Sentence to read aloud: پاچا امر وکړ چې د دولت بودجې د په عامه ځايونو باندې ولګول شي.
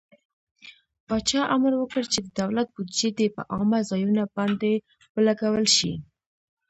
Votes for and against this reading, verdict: 0, 2, rejected